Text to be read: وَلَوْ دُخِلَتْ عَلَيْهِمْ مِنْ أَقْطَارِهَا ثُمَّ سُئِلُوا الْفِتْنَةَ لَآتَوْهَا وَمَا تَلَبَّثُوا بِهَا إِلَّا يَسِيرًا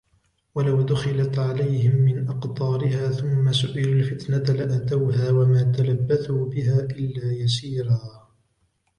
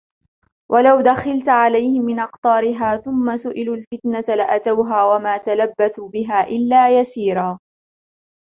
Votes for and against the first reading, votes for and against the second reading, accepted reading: 3, 0, 0, 2, first